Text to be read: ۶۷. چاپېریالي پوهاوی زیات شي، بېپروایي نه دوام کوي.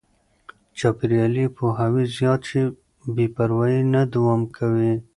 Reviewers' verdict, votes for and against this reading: rejected, 0, 2